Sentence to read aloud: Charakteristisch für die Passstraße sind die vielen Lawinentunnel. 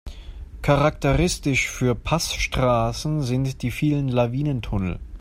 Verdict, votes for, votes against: rejected, 1, 2